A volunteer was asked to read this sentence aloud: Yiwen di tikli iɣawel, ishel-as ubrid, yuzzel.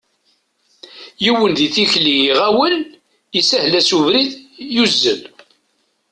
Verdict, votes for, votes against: accepted, 2, 0